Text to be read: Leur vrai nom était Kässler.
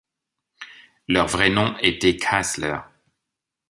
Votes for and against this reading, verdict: 1, 2, rejected